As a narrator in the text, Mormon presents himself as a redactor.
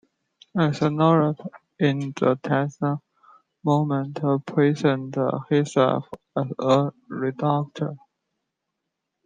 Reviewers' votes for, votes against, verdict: 1, 2, rejected